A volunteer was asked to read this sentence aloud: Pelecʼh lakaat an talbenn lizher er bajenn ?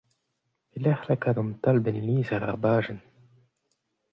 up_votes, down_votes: 2, 0